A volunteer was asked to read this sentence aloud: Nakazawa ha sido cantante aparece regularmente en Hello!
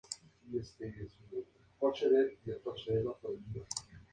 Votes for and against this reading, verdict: 0, 4, rejected